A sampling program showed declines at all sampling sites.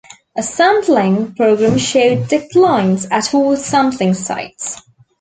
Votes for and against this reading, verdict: 2, 0, accepted